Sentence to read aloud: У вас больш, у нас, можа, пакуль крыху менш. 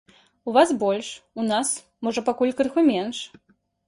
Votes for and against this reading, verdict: 2, 0, accepted